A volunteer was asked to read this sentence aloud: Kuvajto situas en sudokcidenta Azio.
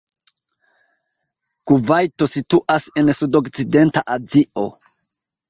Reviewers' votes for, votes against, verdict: 2, 0, accepted